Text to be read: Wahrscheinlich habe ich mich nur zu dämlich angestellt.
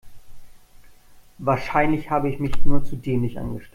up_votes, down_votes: 2, 1